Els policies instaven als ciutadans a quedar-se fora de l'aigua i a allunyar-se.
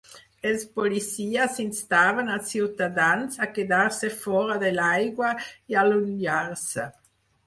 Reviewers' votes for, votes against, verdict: 4, 0, accepted